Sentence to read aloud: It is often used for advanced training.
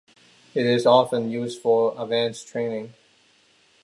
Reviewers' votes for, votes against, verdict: 2, 1, accepted